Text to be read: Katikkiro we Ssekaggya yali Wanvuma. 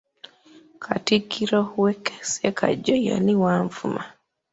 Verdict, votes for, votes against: rejected, 0, 2